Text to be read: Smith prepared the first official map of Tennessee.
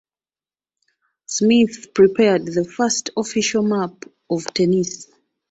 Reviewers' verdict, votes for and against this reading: rejected, 0, 2